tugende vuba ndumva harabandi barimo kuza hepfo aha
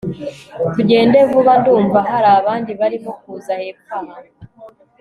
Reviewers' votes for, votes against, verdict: 2, 0, accepted